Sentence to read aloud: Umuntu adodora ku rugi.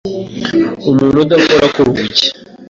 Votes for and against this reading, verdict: 1, 2, rejected